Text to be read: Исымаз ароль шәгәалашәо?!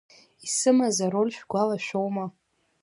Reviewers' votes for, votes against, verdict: 1, 2, rejected